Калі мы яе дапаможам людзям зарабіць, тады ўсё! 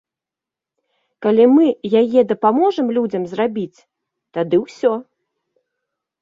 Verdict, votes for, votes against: accepted, 2, 1